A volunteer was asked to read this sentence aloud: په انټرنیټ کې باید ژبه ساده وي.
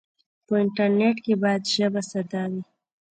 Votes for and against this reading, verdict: 2, 0, accepted